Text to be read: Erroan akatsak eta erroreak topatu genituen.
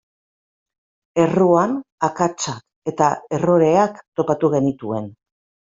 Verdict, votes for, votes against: rejected, 1, 3